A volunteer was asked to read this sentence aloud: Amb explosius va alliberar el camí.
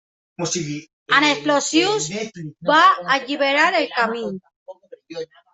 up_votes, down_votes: 0, 2